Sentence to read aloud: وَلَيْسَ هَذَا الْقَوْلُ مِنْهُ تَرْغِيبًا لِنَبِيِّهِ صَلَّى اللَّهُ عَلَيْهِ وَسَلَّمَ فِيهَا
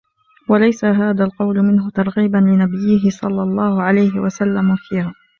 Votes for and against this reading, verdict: 1, 2, rejected